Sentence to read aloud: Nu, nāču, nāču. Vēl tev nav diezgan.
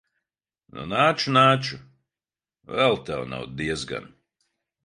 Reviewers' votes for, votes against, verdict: 2, 0, accepted